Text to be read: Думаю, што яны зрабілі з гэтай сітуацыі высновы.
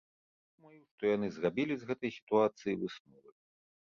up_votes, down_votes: 0, 2